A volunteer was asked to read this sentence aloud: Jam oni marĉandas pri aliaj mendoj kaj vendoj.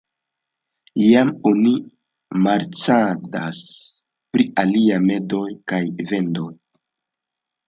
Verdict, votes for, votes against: rejected, 1, 2